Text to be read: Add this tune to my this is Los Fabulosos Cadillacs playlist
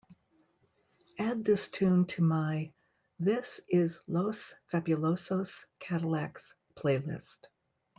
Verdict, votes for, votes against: accepted, 2, 0